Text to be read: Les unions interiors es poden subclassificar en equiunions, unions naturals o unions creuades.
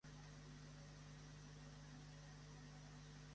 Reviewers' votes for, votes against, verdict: 0, 2, rejected